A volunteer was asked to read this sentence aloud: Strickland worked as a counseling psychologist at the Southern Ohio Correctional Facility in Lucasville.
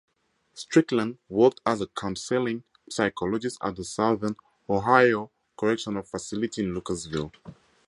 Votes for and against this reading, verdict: 0, 2, rejected